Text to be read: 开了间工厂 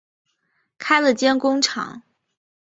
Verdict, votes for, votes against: accepted, 3, 0